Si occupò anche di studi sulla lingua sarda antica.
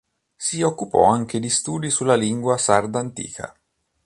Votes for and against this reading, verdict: 2, 0, accepted